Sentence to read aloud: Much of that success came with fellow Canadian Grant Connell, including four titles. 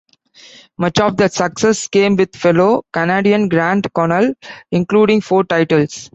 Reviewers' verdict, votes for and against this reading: accepted, 2, 0